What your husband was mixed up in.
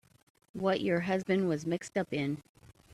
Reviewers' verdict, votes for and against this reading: accepted, 2, 0